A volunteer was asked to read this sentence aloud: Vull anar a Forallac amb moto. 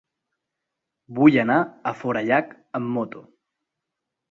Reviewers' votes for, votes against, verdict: 2, 0, accepted